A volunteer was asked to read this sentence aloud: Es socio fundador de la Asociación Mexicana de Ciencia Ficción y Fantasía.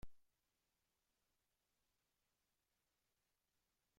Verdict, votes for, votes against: rejected, 0, 2